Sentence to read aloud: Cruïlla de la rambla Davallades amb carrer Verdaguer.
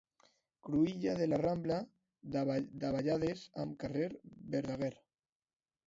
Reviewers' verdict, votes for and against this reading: rejected, 0, 2